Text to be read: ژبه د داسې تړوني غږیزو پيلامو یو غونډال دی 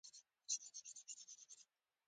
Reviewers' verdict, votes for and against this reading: rejected, 0, 2